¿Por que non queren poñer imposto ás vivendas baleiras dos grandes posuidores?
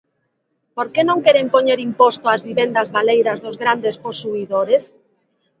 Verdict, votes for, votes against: accepted, 3, 0